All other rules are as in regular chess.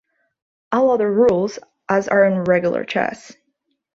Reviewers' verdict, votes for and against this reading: rejected, 1, 2